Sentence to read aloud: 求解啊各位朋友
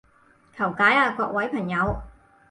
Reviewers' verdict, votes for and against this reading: accepted, 4, 0